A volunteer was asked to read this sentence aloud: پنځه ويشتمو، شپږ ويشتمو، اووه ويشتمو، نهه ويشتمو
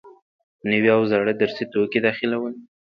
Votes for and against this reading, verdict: 0, 2, rejected